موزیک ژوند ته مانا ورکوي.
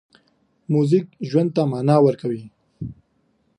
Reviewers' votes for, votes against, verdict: 2, 0, accepted